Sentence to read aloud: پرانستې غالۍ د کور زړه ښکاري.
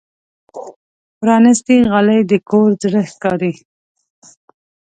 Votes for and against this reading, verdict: 2, 0, accepted